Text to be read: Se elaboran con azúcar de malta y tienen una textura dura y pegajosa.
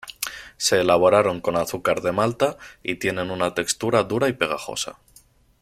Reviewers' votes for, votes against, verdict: 1, 2, rejected